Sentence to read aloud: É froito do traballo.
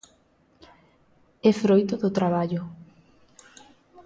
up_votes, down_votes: 2, 0